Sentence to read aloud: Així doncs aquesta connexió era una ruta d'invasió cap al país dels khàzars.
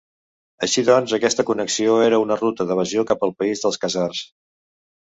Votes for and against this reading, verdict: 0, 2, rejected